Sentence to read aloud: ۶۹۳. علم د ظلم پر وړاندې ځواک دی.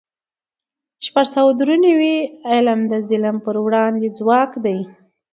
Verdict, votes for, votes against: rejected, 0, 2